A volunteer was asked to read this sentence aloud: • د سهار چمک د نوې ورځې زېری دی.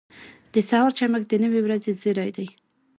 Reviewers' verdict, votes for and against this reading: accepted, 2, 0